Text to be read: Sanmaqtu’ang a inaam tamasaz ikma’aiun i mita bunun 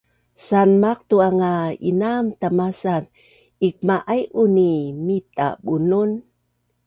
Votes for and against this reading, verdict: 2, 0, accepted